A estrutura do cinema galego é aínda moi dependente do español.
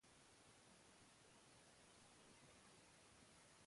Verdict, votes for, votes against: rejected, 0, 2